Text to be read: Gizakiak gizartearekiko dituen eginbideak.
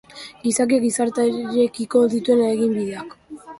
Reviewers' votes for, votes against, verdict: 1, 2, rejected